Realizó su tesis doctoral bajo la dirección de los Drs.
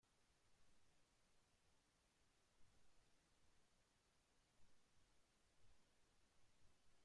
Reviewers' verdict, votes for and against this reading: rejected, 0, 2